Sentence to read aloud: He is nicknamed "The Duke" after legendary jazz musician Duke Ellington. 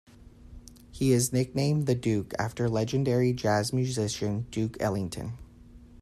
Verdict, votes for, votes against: accepted, 2, 0